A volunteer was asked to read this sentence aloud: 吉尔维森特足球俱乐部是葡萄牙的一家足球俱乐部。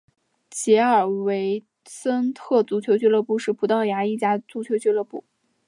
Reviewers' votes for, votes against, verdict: 2, 0, accepted